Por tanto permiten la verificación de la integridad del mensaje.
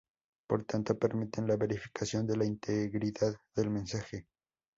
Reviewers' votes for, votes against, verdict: 2, 0, accepted